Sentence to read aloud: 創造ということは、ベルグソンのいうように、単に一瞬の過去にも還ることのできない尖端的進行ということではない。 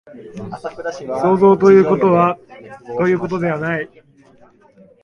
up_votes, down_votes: 1, 2